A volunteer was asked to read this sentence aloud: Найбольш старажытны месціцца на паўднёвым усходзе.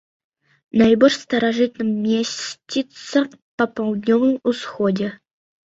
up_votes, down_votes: 1, 2